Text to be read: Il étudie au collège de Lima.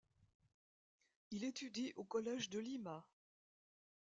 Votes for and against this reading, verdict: 1, 2, rejected